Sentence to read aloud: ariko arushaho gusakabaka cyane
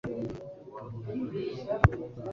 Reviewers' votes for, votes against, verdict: 0, 2, rejected